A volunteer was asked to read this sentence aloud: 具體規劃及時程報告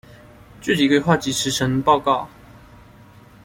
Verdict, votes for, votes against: accepted, 2, 0